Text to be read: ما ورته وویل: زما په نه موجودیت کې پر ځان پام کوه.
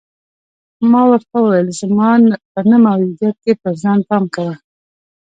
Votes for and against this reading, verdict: 1, 2, rejected